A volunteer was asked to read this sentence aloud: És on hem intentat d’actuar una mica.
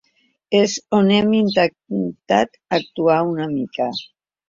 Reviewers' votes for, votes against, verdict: 1, 2, rejected